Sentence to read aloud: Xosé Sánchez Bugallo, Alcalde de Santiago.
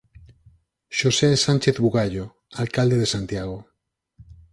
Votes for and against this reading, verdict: 4, 0, accepted